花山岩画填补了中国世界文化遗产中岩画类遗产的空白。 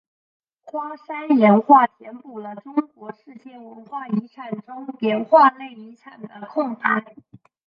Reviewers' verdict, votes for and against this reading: rejected, 2, 3